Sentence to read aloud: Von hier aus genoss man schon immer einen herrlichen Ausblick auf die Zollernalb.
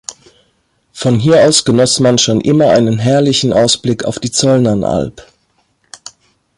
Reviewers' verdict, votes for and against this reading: rejected, 1, 2